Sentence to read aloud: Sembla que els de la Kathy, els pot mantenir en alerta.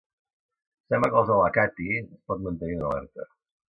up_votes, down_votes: 1, 2